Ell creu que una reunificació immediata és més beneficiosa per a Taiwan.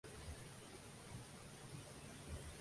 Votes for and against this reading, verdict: 0, 2, rejected